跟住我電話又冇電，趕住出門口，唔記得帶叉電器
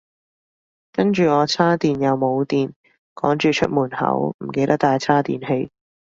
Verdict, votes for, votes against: rejected, 1, 2